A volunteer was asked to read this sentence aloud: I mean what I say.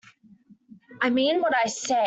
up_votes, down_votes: 0, 2